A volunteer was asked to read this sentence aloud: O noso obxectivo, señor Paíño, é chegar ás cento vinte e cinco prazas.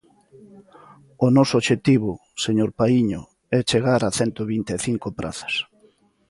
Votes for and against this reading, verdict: 1, 2, rejected